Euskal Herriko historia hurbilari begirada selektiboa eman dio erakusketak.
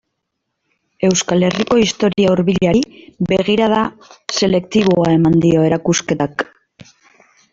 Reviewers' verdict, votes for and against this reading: accepted, 2, 0